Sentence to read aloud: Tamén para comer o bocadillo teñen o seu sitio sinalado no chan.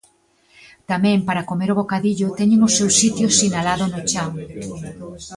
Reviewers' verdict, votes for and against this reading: rejected, 0, 2